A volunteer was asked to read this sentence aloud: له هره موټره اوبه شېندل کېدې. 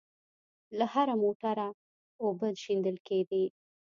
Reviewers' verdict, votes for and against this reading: accepted, 2, 0